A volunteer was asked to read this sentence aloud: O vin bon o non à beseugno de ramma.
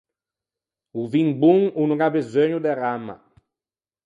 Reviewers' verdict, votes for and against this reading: rejected, 2, 4